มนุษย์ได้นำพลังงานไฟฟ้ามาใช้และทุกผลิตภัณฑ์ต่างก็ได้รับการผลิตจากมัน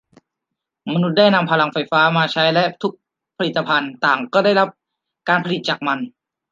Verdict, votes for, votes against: rejected, 0, 2